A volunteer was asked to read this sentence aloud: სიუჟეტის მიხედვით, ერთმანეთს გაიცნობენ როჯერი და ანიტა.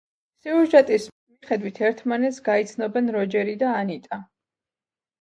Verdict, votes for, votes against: accepted, 2, 0